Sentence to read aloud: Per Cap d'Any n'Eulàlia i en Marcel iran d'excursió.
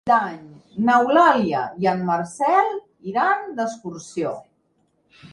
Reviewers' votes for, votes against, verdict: 1, 2, rejected